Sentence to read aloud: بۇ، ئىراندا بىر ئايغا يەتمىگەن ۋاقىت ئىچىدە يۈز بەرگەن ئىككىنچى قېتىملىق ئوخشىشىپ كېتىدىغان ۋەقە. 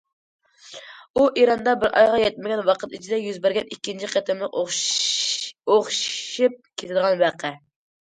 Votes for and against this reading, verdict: 0, 2, rejected